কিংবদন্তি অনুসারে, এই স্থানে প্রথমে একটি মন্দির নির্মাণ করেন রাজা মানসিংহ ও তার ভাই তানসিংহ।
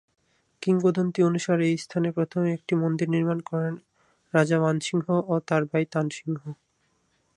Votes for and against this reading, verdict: 4, 4, rejected